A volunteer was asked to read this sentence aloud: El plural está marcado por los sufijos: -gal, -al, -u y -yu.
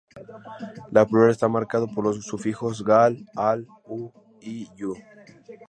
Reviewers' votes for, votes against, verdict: 0, 2, rejected